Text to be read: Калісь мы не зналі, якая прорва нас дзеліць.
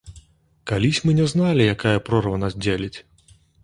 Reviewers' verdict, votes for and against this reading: accepted, 2, 0